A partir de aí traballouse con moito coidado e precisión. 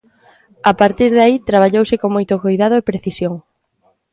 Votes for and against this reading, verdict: 2, 0, accepted